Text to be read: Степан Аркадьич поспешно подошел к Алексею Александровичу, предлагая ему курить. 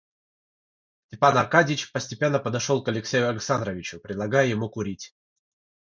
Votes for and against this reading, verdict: 0, 3, rejected